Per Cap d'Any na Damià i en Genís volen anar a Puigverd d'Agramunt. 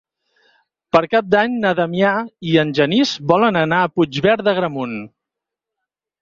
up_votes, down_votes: 4, 0